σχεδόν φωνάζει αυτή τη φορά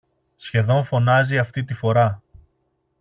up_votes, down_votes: 2, 0